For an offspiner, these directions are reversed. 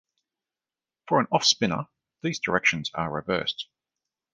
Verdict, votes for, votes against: accepted, 2, 0